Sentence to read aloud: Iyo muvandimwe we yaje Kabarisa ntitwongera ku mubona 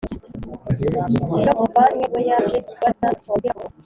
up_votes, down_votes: 2, 0